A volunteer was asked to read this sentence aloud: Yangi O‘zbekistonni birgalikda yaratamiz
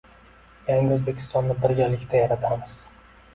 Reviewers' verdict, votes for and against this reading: accepted, 2, 0